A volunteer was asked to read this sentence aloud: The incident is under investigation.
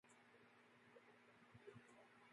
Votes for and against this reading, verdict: 0, 2, rejected